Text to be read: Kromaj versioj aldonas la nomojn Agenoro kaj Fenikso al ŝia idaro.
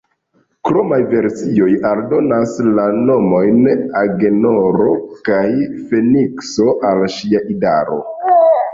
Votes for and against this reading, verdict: 2, 0, accepted